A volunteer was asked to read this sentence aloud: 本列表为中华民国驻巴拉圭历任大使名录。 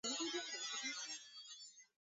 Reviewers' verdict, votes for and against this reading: rejected, 0, 2